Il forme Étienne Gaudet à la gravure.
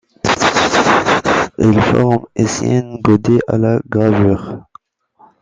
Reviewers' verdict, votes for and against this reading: rejected, 0, 2